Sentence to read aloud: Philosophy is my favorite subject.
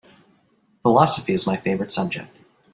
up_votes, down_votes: 3, 1